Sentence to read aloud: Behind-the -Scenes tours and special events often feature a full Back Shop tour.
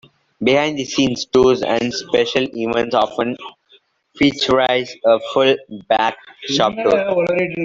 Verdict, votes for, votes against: rejected, 0, 2